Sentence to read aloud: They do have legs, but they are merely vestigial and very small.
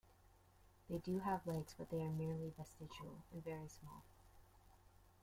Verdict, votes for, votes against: rejected, 0, 2